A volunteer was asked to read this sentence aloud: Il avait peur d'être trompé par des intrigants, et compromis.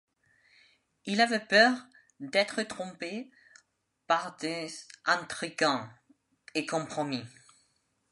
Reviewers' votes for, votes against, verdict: 2, 0, accepted